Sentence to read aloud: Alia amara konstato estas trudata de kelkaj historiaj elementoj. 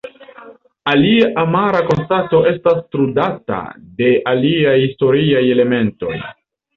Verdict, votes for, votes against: rejected, 0, 2